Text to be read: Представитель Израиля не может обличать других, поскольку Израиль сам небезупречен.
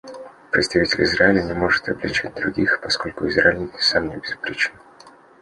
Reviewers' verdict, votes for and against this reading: accepted, 2, 0